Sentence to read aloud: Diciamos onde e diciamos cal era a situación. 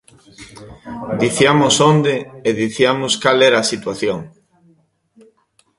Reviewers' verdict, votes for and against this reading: accepted, 2, 1